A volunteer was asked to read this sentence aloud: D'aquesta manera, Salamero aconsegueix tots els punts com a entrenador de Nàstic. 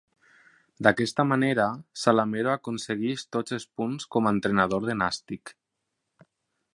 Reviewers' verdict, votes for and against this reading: accepted, 2, 0